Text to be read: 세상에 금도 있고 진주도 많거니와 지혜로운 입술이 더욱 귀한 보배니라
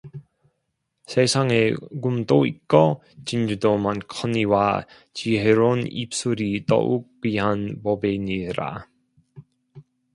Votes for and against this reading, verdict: 2, 1, accepted